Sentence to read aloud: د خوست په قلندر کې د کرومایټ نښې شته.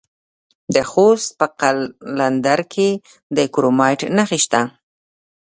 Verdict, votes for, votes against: rejected, 1, 2